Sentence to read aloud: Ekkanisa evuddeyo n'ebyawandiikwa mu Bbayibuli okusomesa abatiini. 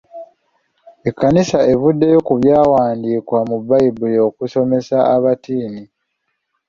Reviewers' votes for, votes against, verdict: 1, 2, rejected